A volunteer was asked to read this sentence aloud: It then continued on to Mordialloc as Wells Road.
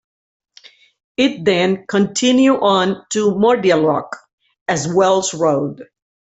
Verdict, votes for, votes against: rejected, 0, 2